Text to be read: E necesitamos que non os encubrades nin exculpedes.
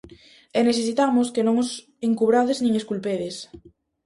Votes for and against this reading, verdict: 2, 0, accepted